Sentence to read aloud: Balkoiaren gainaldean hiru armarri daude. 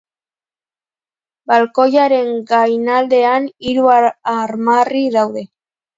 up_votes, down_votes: 0, 2